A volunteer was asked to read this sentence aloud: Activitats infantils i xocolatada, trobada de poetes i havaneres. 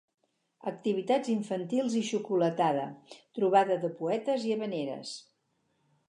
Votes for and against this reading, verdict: 4, 0, accepted